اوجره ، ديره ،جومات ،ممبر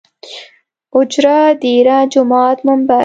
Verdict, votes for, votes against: accepted, 2, 0